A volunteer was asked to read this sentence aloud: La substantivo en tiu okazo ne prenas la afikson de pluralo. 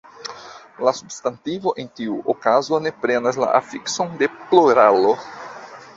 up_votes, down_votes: 2, 1